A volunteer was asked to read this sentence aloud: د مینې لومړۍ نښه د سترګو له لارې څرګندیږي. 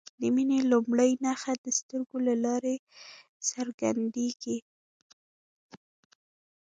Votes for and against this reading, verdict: 2, 0, accepted